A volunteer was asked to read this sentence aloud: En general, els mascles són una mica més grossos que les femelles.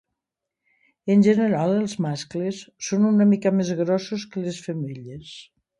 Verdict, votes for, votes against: accepted, 2, 0